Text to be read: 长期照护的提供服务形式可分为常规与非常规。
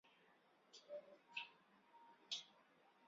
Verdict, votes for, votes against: rejected, 2, 3